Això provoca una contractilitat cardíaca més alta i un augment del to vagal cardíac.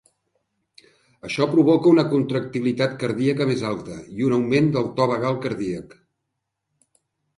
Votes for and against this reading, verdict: 3, 0, accepted